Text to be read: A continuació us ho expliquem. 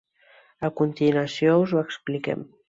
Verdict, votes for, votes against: accepted, 2, 0